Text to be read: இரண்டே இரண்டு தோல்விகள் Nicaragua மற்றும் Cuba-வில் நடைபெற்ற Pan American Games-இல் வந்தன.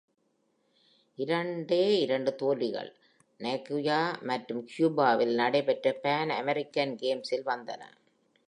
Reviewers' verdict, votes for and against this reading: accepted, 2, 0